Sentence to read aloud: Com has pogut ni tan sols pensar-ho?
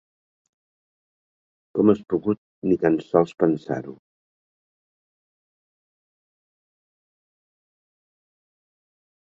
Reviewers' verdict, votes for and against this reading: accepted, 4, 0